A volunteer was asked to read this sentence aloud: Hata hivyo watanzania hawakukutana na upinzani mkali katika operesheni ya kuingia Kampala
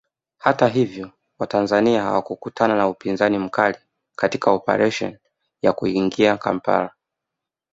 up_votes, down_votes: 1, 2